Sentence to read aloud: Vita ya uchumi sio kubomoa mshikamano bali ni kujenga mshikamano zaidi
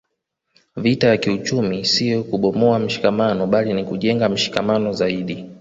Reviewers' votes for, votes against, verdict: 1, 2, rejected